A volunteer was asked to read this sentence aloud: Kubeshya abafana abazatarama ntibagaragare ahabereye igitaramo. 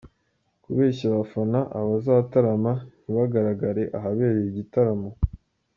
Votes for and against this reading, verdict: 2, 0, accepted